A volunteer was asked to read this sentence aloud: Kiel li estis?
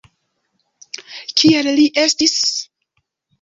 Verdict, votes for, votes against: accepted, 2, 0